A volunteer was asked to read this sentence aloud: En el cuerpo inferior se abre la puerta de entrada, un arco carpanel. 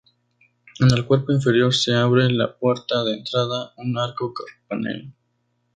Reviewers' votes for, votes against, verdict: 0, 2, rejected